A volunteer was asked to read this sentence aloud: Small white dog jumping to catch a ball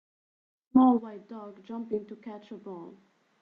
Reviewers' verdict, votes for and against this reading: accepted, 3, 1